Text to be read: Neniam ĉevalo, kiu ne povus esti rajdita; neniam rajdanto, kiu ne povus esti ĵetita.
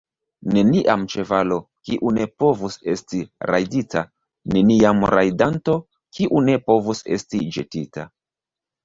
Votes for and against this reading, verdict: 1, 2, rejected